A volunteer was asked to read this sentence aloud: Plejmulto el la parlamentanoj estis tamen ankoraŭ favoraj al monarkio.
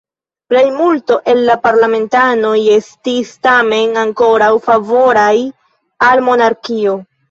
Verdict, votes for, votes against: rejected, 1, 2